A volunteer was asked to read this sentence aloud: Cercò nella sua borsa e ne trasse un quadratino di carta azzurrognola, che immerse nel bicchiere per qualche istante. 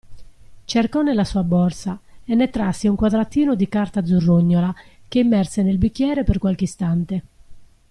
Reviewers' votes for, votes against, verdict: 2, 0, accepted